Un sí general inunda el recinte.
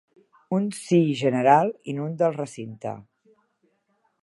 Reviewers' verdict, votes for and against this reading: accepted, 2, 0